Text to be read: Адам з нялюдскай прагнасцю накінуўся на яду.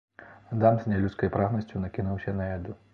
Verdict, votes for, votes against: accepted, 2, 0